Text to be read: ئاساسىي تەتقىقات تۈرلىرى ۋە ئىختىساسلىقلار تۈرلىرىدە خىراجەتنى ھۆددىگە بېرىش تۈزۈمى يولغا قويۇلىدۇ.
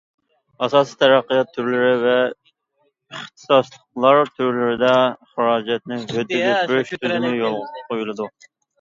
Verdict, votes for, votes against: rejected, 0, 2